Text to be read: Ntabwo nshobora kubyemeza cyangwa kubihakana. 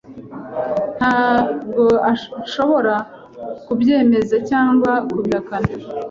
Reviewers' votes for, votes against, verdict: 1, 2, rejected